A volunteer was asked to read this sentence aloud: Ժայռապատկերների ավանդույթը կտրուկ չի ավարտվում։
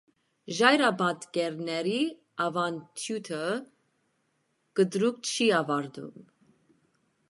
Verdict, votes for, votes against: rejected, 1, 2